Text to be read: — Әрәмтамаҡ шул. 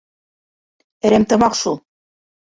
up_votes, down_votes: 1, 2